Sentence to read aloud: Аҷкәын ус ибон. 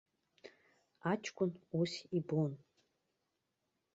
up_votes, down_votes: 2, 0